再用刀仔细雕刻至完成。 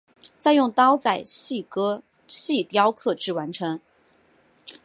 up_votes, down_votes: 0, 2